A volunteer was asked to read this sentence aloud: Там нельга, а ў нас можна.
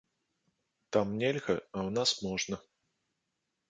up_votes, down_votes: 2, 0